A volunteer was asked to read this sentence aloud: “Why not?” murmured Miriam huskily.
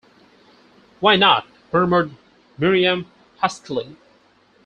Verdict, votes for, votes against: rejected, 2, 4